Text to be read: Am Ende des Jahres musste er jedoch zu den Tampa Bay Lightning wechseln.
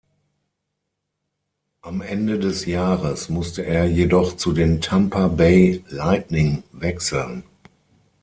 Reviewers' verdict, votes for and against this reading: rejected, 0, 6